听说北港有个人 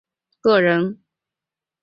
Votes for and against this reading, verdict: 0, 3, rejected